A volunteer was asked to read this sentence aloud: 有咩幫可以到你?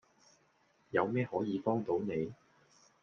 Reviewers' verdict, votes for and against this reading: accepted, 2, 1